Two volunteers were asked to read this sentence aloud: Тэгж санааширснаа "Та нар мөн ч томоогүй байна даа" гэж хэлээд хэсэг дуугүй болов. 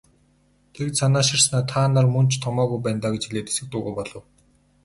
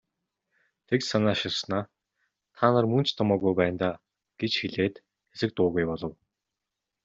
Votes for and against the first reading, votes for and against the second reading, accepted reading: 0, 2, 2, 0, second